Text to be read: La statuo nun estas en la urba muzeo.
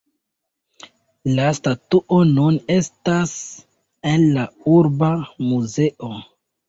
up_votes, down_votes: 2, 1